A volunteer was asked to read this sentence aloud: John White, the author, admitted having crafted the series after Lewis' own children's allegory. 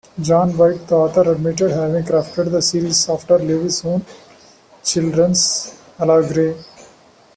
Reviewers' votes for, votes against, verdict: 0, 2, rejected